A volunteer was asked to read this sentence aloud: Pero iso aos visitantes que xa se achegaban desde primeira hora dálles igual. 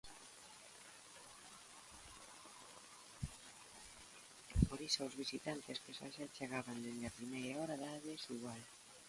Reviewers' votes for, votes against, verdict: 1, 2, rejected